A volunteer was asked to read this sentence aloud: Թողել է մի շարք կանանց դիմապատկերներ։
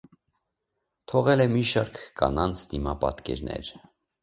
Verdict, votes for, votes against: accepted, 2, 0